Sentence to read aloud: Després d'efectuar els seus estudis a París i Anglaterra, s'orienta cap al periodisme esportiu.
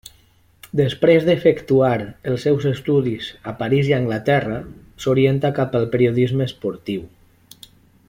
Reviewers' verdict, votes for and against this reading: accepted, 3, 0